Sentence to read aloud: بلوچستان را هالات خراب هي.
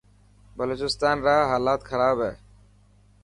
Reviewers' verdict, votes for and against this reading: accepted, 2, 0